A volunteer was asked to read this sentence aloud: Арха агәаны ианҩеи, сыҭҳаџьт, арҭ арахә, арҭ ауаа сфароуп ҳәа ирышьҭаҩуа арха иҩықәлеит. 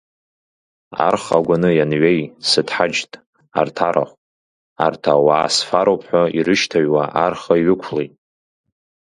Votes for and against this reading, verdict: 2, 1, accepted